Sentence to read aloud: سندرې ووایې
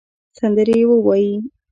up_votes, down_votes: 1, 2